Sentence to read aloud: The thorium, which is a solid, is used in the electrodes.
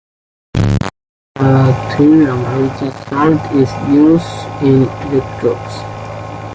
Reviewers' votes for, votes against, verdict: 0, 2, rejected